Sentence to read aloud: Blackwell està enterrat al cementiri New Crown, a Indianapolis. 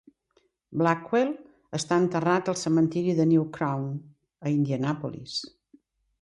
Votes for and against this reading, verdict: 0, 2, rejected